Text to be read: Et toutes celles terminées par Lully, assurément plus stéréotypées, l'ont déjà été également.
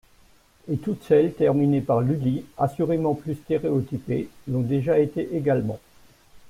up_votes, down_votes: 2, 1